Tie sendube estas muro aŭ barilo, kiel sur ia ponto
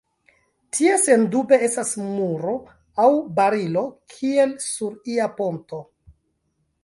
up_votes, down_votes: 1, 2